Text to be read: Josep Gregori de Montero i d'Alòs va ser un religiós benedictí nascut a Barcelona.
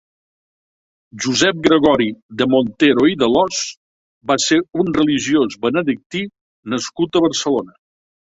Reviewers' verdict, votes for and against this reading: accepted, 2, 1